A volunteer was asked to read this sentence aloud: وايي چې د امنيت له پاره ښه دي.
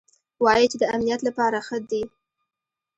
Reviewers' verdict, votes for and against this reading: accepted, 2, 0